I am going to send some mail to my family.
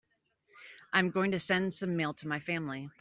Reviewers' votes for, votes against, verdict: 1, 2, rejected